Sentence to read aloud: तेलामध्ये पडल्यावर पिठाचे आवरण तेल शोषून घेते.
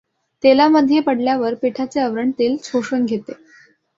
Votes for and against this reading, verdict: 2, 0, accepted